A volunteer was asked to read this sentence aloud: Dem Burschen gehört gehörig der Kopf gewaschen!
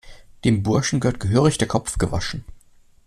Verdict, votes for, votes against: accepted, 2, 1